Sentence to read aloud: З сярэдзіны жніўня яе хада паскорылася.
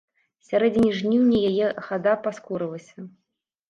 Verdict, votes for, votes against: rejected, 2, 3